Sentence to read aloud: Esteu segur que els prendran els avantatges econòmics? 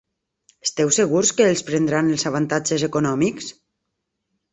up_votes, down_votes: 1, 2